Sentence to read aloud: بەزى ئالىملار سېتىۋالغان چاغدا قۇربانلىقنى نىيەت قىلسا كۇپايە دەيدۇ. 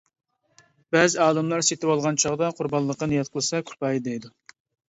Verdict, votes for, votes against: rejected, 0, 2